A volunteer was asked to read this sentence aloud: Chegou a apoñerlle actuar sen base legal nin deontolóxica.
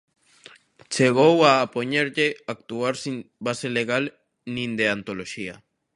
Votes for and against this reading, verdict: 0, 2, rejected